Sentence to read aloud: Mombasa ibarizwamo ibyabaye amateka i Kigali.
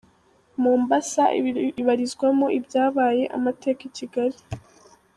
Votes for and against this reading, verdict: 0, 2, rejected